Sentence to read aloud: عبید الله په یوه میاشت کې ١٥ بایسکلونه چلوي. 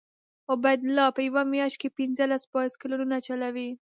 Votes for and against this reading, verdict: 0, 2, rejected